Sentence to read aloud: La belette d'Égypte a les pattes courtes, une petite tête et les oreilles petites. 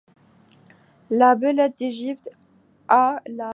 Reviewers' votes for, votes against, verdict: 0, 2, rejected